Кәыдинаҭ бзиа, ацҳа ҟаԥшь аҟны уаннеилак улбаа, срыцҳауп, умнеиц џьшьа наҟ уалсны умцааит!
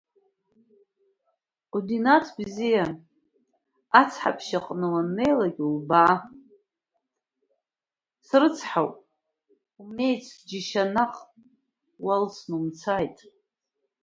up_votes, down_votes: 1, 2